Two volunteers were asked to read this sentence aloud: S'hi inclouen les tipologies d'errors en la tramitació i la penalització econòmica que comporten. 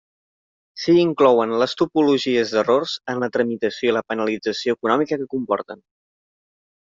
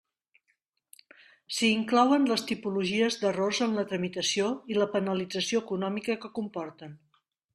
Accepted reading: second